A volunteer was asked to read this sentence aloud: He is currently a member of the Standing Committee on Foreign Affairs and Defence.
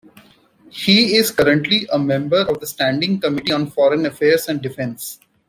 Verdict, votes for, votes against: rejected, 1, 2